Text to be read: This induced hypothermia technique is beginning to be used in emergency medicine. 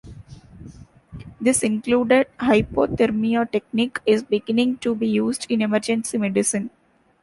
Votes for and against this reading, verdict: 1, 2, rejected